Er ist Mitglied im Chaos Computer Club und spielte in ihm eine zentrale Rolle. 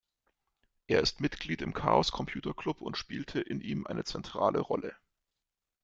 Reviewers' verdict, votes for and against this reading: accepted, 2, 0